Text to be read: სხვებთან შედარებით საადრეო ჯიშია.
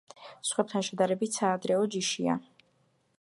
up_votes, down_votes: 2, 0